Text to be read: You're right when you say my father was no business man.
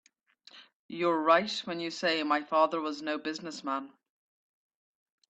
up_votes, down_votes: 2, 0